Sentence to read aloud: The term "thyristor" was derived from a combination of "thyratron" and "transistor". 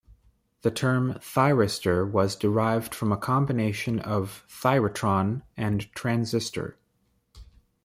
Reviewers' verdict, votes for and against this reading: accepted, 2, 1